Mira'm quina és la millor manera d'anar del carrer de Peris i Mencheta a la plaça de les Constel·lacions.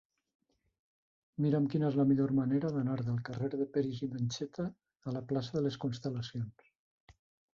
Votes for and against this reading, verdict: 2, 0, accepted